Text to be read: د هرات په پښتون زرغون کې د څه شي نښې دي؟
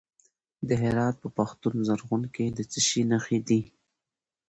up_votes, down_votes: 2, 0